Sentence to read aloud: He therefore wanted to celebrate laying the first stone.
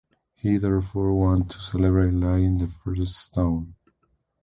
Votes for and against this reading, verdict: 0, 2, rejected